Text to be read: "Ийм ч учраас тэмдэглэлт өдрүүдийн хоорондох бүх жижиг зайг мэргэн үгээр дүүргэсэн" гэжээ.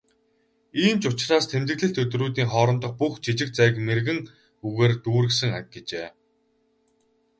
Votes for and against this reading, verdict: 4, 4, rejected